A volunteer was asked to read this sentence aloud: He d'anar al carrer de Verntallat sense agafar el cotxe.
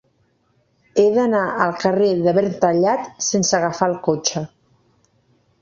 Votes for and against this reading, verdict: 2, 0, accepted